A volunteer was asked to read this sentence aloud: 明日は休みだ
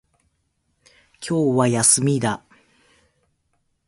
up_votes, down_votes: 1, 2